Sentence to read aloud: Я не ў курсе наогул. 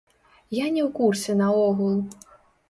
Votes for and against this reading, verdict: 0, 2, rejected